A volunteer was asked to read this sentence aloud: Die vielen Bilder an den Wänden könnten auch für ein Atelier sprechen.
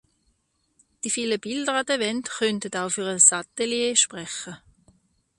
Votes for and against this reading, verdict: 0, 2, rejected